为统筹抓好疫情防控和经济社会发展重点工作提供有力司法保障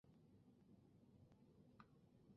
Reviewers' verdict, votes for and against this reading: rejected, 1, 3